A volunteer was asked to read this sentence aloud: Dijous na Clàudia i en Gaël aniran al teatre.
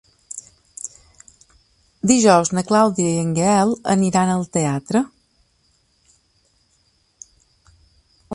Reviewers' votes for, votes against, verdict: 2, 1, accepted